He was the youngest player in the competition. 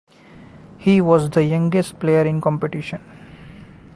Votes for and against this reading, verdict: 1, 2, rejected